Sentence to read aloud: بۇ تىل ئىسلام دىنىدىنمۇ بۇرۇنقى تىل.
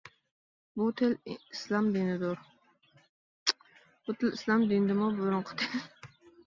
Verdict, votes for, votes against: rejected, 0, 2